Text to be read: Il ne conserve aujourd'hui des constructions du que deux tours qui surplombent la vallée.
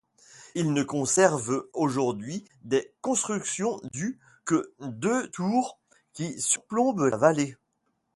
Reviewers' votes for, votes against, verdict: 1, 2, rejected